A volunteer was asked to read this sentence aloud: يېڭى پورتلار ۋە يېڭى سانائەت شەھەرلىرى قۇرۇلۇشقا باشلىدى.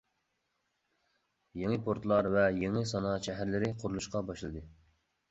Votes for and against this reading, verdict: 2, 0, accepted